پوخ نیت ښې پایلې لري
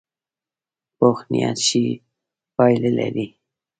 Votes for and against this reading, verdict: 2, 0, accepted